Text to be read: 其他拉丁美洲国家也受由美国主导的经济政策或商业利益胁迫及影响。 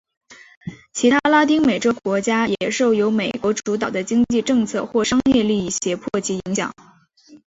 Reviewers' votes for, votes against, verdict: 3, 0, accepted